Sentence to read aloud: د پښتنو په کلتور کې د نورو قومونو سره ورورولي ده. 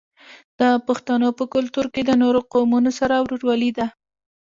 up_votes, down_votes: 0, 2